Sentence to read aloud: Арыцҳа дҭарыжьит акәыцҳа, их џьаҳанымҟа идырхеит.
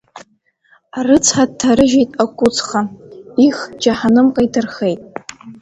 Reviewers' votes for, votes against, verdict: 0, 2, rejected